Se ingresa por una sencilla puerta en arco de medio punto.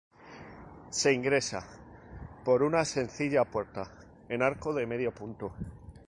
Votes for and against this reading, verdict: 2, 0, accepted